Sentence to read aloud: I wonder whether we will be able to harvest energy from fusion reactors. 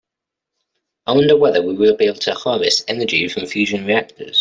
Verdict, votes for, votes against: accepted, 2, 0